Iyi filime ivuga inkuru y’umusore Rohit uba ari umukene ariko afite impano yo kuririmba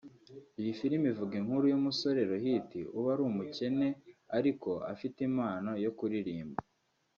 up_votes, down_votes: 1, 2